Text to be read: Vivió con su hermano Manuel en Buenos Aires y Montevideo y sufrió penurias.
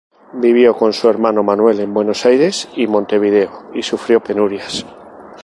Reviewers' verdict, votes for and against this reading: accepted, 2, 0